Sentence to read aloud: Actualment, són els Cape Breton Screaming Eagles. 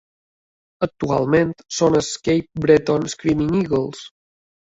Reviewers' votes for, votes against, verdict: 2, 1, accepted